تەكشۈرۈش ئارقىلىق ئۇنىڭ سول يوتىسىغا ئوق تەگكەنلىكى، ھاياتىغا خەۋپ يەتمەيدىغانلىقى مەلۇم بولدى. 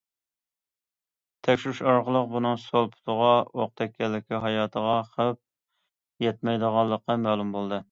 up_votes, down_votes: 0, 2